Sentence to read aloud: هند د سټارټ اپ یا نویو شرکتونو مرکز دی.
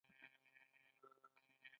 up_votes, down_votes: 0, 2